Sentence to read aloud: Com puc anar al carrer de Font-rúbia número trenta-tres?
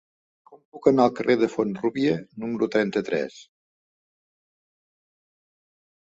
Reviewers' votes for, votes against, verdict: 3, 1, accepted